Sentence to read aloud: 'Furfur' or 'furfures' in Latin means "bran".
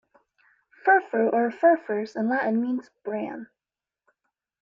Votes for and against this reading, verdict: 2, 0, accepted